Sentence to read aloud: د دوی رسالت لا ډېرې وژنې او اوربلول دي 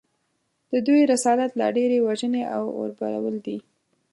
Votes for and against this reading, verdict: 2, 0, accepted